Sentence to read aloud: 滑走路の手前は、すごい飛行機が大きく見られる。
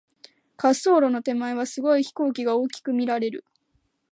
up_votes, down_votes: 2, 0